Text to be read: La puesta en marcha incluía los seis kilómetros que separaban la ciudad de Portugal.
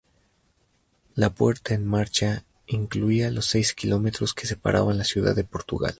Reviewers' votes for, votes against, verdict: 0, 2, rejected